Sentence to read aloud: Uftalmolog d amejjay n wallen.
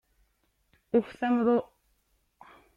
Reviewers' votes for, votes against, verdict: 0, 2, rejected